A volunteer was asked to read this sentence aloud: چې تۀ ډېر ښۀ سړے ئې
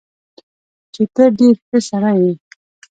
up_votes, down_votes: 0, 2